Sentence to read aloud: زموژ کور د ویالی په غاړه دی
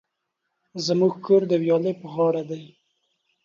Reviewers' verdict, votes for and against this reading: accepted, 2, 0